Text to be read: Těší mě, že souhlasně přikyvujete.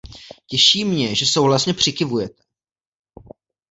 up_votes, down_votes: 1, 2